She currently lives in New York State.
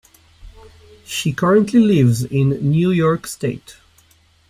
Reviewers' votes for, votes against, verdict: 2, 0, accepted